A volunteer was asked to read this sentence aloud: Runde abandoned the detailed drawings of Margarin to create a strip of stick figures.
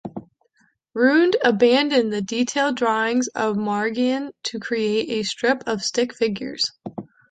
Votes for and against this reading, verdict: 1, 2, rejected